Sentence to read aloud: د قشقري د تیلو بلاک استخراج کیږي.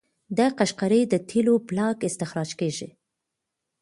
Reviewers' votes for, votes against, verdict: 1, 2, rejected